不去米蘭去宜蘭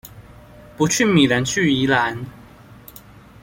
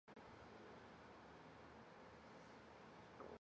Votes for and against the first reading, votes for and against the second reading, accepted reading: 2, 0, 0, 2, first